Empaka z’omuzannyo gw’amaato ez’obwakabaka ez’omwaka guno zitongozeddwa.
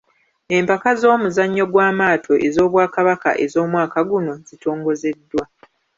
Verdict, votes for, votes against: rejected, 1, 2